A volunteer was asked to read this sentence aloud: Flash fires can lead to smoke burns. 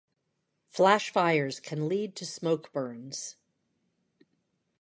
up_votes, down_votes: 2, 0